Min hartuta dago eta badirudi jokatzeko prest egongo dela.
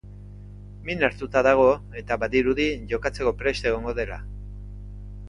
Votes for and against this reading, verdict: 3, 0, accepted